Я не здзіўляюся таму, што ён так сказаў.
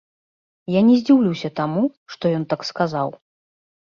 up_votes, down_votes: 0, 2